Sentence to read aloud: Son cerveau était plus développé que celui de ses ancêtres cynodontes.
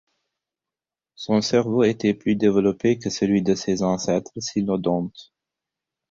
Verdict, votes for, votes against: rejected, 0, 4